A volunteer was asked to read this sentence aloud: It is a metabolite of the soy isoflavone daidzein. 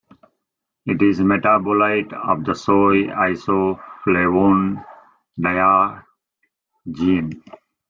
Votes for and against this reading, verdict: 1, 2, rejected